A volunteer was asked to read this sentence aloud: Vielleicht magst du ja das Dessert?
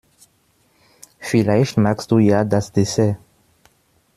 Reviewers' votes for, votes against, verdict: 2, 0, accepted